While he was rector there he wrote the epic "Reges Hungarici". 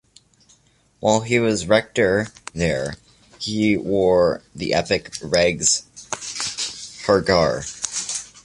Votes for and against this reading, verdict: 1, 2, rejected